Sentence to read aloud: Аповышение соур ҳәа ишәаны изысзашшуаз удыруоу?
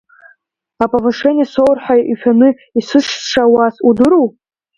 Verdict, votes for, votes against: rejected, 0, 2